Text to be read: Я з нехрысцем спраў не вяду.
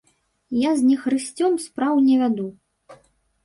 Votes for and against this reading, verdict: 1, 3, rejected